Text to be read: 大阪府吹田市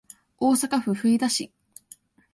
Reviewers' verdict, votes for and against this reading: rejected, 0, 2